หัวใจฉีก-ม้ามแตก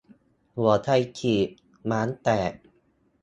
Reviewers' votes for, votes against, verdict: 0, 2, rejected